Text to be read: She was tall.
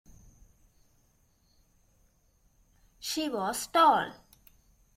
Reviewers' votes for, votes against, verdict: 2, 0, accepted